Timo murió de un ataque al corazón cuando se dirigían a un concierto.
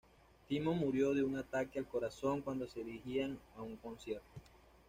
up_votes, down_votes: 2, 0